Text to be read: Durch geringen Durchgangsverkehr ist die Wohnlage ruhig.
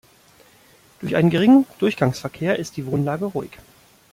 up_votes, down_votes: 0, 2